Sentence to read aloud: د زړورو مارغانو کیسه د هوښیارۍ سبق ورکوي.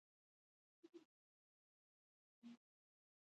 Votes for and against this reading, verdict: 2, 0, accepted